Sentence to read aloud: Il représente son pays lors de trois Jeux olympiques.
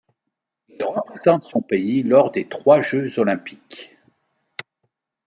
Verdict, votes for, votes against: rejected, 0, 2